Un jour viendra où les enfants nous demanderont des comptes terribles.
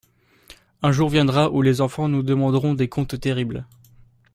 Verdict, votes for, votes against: accepted, 2, 0